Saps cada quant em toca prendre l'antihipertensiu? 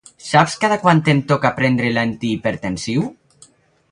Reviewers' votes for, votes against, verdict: 4, 2, accepted